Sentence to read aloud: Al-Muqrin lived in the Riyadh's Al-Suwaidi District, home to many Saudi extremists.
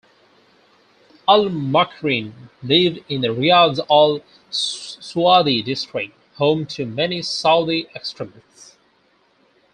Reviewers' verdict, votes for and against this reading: rejected, 2, 4